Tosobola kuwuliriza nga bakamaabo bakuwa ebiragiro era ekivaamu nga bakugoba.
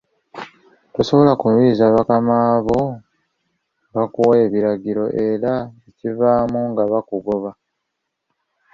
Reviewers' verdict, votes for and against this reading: rejected, 1, 2